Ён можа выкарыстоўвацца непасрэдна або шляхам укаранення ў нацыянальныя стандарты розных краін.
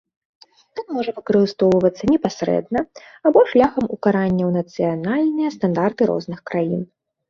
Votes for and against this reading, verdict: 0, 2, rejected